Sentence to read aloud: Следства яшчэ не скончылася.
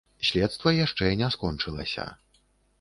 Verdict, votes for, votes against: accepted, 2, 0